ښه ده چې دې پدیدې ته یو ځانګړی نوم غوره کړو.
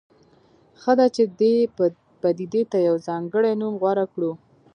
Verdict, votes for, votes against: rejected, 0, 2